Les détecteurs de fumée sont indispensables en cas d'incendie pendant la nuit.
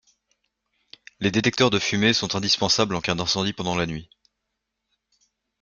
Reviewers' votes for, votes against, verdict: 2, 0, accepted